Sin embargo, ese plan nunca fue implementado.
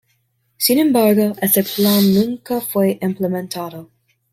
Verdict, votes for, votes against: accepted, 2, 1